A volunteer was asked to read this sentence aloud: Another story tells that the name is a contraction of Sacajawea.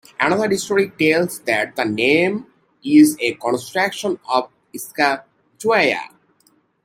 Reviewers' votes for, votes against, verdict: 0, 2, rejected